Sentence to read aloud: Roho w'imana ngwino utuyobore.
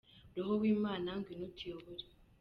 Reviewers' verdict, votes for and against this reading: accepted, 2, 0